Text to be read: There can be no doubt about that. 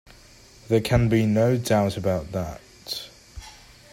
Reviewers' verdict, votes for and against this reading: accepted, 2, 0